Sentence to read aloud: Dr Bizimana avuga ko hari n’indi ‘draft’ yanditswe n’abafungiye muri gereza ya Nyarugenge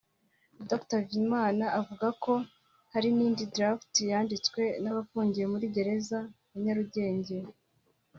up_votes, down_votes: 4, 0